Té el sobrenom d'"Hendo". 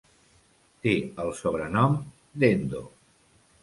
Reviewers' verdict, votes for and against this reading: accepted, 2, 0